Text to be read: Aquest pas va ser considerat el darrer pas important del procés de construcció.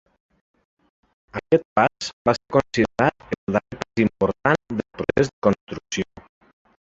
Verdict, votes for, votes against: rejected, 0, 2